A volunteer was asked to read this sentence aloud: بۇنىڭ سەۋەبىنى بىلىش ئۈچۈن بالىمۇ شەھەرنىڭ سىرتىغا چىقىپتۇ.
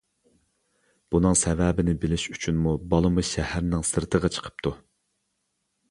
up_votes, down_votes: 0, 2